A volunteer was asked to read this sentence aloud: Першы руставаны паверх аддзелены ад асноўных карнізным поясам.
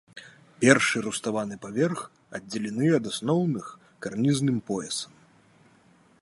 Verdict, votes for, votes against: rejected, 0, 2